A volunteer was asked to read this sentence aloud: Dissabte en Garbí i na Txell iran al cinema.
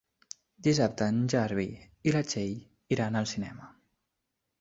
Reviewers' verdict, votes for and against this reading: rejected, 0, 2